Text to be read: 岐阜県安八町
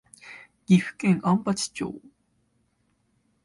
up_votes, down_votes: 2, 0